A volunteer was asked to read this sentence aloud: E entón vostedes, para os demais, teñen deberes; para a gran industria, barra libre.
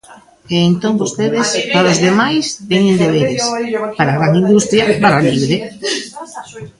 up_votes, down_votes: 2, 1